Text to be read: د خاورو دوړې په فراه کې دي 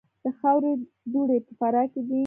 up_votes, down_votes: 2, 0